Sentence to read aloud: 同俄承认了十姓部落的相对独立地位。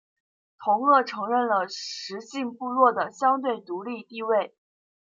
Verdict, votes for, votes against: rejected, 0, 2